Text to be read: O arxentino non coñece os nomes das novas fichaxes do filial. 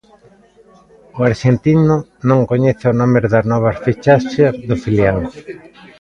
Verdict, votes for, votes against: rejected, 1, 2